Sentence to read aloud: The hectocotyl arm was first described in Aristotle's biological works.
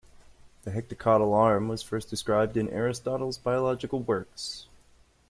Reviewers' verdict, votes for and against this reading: accepted, 2, 0